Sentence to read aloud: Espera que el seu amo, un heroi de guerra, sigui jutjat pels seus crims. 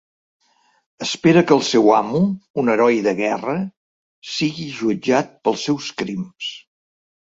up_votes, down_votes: 3, 0